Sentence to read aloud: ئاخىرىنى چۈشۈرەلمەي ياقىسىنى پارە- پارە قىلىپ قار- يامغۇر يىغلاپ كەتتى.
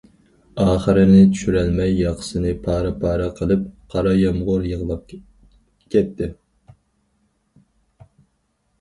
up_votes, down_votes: 2, 4